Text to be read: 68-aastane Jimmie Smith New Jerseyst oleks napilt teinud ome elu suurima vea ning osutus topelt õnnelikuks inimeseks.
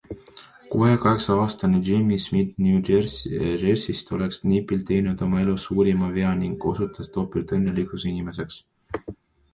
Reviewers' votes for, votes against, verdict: 0, 2, rejected